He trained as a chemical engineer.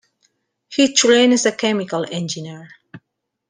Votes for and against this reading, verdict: 0, 2, rejected